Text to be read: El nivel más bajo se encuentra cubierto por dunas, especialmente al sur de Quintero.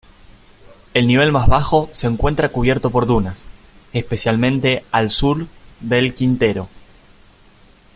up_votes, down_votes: 0, 2